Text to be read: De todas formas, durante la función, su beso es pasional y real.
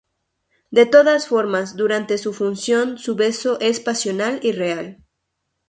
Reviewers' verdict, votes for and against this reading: rejected, 0, 2